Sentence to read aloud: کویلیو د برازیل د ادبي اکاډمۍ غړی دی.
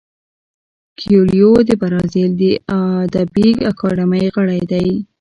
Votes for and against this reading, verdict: 1, 2, rejected